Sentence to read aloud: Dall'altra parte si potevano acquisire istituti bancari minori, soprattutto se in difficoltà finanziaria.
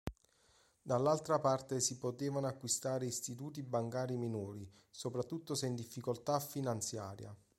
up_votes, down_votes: 1, 2